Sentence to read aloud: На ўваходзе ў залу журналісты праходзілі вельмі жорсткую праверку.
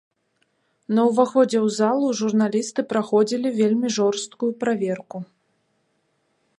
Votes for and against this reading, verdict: 2, 0, accepted